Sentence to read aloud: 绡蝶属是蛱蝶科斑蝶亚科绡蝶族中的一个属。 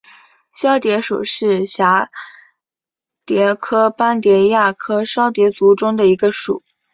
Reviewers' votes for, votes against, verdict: 2, 0, accepted